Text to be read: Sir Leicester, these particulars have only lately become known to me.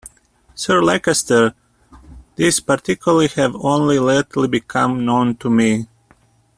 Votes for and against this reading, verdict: 0, 2, rejected